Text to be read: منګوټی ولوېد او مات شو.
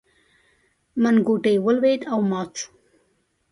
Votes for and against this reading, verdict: 2, 0, accepted